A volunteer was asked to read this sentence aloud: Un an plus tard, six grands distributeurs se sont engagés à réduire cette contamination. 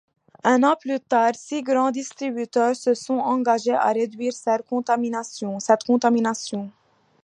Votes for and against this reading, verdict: 1, 2, rejected